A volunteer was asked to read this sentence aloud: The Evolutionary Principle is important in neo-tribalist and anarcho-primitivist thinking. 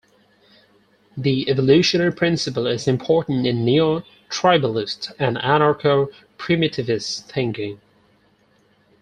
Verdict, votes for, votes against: accepted, 4, 0